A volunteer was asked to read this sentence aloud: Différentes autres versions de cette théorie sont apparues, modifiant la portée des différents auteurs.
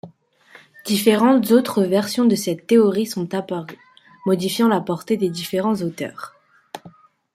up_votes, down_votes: 2, 0